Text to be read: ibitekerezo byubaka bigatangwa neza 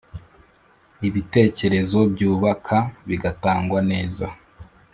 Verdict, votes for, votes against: accepted, 2, 0